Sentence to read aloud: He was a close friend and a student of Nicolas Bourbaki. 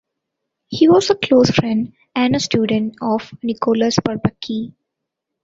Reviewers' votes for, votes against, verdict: 0, 2, rejected